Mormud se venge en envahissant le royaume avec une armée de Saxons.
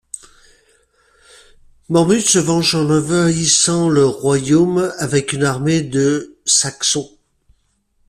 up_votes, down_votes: 1, 2